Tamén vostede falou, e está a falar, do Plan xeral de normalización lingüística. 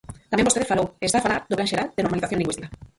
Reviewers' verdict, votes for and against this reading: rejected, 0, 4